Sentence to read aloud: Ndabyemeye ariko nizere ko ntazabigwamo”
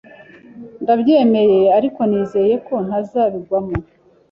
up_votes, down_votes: 1, 2